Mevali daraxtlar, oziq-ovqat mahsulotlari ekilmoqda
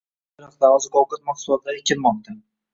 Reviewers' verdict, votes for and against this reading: rejected, 1, 2